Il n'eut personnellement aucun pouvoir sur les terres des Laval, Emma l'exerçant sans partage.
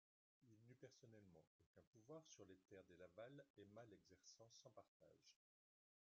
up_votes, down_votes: 0, 2